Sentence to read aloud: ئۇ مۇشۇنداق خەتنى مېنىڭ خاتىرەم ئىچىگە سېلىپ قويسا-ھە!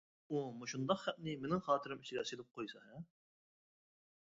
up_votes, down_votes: 1, 2